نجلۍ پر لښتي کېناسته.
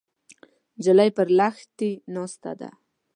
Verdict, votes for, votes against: rejected, 0, 2